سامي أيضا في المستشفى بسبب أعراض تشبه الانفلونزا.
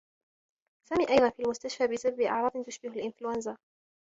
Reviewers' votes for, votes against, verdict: 1, 2, rejected